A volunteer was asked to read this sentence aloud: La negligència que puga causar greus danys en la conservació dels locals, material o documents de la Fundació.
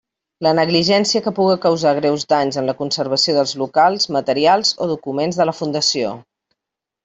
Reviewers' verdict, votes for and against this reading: rejected, 0, 2